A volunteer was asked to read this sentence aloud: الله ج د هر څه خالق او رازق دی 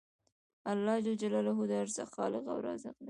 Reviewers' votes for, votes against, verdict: 1, 2, rejected